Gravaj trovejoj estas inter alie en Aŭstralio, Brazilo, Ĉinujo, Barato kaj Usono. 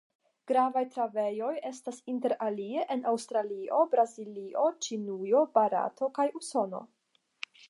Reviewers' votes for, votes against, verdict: 0, 5, rejected